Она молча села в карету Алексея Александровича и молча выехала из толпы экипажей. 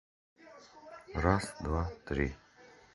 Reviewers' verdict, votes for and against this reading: rejected, 0, 2